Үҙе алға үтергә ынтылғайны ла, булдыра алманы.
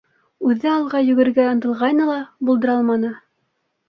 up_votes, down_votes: 1, 2